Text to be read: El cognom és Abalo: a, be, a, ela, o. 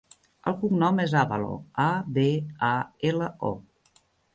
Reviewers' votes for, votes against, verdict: 1, 2, rejected